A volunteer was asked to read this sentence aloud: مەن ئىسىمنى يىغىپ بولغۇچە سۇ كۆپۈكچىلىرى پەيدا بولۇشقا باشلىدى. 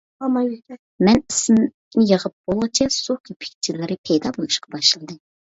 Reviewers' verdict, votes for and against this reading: rejected, 1, 2